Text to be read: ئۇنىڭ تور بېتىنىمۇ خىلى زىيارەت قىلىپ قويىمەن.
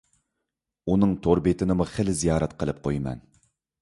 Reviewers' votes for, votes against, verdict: 2, 0, accepted